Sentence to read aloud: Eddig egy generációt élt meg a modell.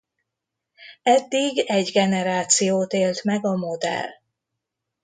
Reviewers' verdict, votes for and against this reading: accepted, 2, 0